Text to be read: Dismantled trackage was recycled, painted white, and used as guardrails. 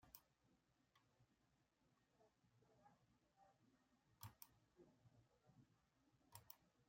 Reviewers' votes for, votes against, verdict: 0, 2, rejected